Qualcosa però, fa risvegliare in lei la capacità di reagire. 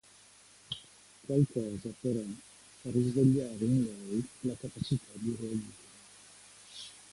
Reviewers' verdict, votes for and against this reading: rejected, 1, 2